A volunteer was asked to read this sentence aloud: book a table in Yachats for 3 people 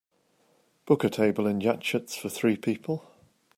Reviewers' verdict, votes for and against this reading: rejected, 0, 2